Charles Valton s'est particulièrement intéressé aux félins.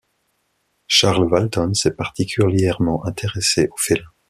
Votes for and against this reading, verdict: 2, 0, accepted